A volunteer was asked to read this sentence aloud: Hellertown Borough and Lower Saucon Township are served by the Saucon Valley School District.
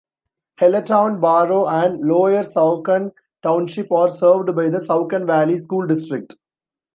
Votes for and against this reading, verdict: 0, 2, rejected